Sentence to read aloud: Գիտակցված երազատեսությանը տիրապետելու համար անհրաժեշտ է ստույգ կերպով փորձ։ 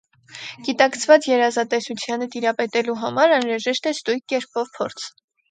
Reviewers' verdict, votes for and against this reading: rejected, 2, 4